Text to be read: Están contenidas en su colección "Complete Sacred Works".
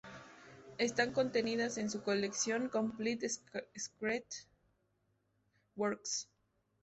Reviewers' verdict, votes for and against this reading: rejected, 0, 2